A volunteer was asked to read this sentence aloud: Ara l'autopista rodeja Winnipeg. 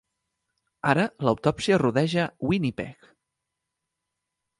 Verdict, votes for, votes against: rejected, 1, 2